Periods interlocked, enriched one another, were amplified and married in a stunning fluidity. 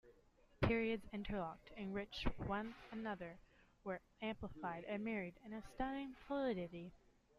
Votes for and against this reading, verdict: 2, 0, accepted